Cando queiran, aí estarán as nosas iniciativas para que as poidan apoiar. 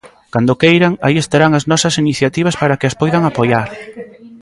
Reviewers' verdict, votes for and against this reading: accepted, 2, 0